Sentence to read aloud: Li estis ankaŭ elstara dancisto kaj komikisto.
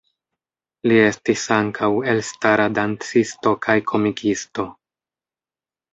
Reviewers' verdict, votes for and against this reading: rejected, 1, 2